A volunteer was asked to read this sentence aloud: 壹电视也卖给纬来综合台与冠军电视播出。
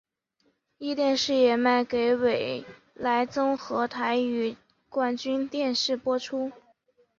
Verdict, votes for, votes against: accepted, 2, 0